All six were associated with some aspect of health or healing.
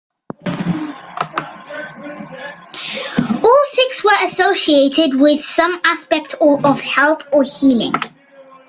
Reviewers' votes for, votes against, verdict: 0, 2, rejected